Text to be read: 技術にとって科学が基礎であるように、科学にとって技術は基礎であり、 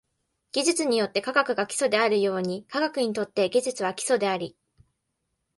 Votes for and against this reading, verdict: 2, 0, accepted